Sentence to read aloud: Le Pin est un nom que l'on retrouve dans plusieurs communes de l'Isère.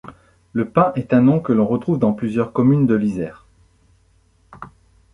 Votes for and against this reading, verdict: 2, 0, accepted